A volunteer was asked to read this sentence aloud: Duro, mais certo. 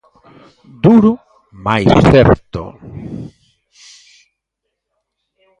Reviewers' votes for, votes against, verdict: 1, 2, rejected